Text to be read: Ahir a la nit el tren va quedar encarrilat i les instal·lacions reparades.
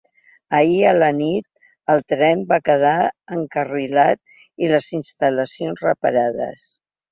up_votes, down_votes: 2, 0